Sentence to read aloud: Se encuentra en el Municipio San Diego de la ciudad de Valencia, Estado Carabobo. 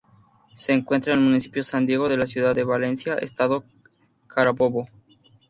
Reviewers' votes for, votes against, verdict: 0, 2, rejected